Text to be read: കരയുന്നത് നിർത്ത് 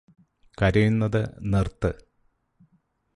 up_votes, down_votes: 2, 0